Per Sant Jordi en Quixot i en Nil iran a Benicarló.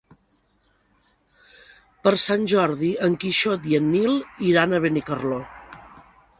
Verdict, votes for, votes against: accepted, 2, 0